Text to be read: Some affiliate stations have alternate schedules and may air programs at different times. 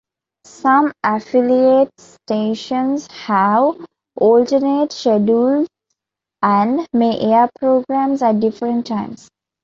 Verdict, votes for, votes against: accepted, 2, 0